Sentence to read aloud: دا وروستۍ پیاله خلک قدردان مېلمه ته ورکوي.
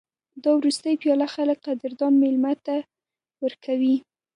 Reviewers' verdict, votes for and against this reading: accepted, 2, 0